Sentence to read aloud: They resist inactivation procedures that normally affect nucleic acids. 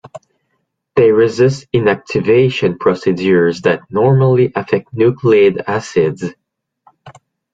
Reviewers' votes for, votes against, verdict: 0, 2, rejected